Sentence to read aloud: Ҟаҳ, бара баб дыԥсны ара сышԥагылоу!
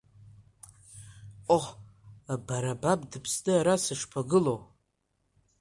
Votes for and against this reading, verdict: 1, 2, rejected